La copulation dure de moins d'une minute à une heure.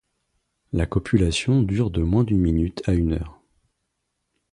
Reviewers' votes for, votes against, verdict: 2, 0, accepted